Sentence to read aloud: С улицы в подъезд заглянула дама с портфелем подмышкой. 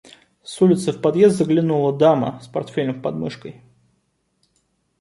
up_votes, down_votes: 2, 0